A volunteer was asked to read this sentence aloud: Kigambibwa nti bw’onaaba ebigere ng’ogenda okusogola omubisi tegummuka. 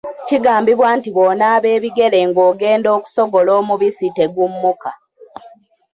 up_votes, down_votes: 1, 2